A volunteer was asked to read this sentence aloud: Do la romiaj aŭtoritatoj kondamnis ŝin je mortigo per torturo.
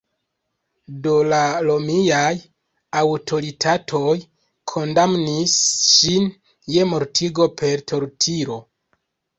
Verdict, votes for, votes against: rejected, 0, 2